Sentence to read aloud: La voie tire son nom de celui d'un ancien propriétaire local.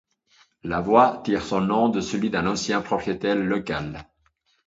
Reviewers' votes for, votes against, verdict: 0, 2, rejected